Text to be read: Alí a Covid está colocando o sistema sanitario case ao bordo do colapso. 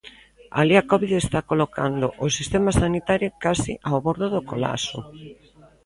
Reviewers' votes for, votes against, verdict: 0, 2, rejected